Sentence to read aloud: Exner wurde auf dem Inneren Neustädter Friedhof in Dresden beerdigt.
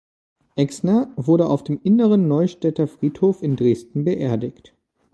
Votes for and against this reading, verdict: 2, 0, accepted